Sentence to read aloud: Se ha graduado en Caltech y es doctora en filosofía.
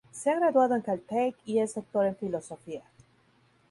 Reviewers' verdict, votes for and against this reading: accepted, 2, 0